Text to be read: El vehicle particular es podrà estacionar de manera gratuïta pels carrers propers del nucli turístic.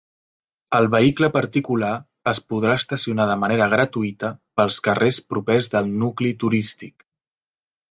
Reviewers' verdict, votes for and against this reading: accepted, 4, 0